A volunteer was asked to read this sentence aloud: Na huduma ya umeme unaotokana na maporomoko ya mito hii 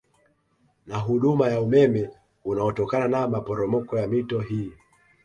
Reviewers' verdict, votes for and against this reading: accepted, 2, 0